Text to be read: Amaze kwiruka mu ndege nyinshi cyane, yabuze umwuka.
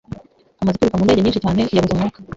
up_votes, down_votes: 1, 2